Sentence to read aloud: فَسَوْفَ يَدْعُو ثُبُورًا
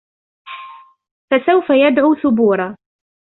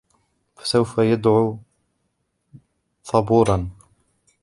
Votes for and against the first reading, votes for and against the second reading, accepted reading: 2, 0, 1, 2, first